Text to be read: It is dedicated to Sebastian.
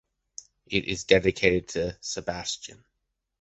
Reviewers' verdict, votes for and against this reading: accepted, 2, 0